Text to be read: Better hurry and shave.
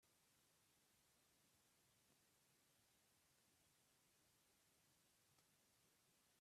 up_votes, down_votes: 0, 2